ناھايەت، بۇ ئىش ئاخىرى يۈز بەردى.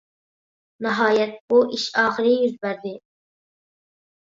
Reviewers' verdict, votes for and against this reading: accepted, 2, 0